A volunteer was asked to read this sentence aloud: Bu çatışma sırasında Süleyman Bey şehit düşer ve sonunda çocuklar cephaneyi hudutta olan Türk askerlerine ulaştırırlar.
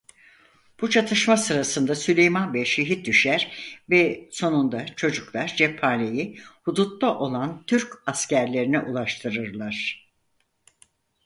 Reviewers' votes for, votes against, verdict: 4, 0, accepted